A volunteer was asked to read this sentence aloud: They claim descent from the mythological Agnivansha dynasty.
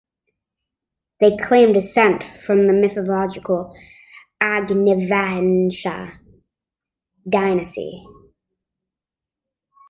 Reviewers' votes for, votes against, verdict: 2, 0, accepted